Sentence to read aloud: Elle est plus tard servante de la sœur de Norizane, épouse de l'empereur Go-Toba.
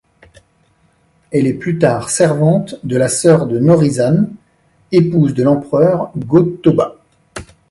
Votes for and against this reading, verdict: 2, 0, accepted